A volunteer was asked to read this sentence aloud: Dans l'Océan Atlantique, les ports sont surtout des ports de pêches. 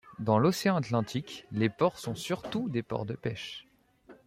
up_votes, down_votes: 2, 0